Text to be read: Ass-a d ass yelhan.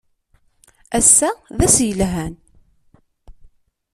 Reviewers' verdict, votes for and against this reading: accepted, 2, 0